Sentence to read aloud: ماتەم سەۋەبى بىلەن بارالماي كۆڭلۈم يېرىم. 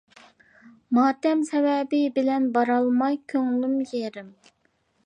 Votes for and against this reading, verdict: 2, 0, accepted